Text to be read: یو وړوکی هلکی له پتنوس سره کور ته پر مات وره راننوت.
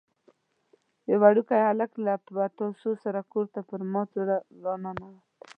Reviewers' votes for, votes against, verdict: 0, 2, rejected